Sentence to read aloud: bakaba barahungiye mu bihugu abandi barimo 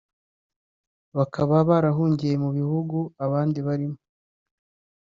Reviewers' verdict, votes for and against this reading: accepted, 3, 0